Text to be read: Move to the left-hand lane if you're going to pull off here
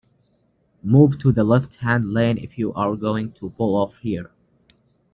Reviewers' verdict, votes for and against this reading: rejected, 0, 2